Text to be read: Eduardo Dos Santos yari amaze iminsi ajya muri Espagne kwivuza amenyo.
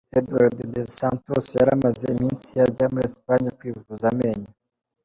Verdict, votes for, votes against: accepted, 2, 0